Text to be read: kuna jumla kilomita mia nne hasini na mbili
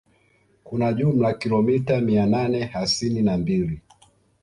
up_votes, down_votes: 1, 2